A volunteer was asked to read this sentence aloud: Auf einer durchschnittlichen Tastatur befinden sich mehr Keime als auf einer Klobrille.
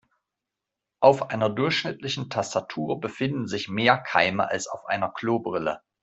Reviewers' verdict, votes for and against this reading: accepted, 2, 0